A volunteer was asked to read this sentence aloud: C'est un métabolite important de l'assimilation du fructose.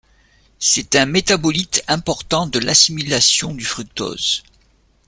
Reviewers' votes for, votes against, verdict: 2, 0, accepted